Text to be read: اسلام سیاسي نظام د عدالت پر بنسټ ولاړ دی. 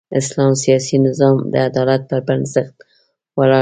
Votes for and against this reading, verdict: 1, 2, rejected